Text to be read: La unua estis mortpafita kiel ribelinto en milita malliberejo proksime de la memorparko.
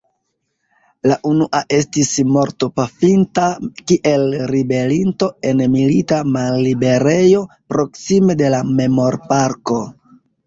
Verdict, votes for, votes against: rejected, 2, 3